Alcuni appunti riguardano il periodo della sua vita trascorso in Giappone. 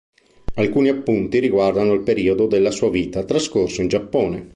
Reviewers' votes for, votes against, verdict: 4, 0, accepted